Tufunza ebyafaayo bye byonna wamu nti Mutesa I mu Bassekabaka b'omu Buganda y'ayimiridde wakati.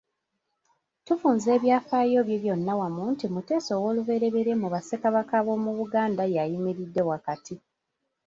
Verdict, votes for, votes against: rejected, 1, 2